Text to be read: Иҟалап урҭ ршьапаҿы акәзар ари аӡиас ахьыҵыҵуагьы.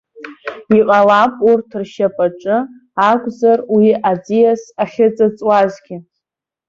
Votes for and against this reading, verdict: 0, 2, rejected